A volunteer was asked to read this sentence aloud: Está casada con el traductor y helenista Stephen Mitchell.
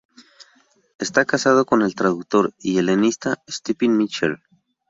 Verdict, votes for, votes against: rejected, 0, 2